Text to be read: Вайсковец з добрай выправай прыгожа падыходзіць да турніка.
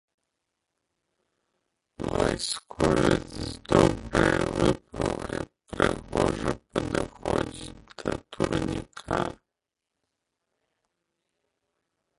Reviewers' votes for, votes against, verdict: 0, 2, rejected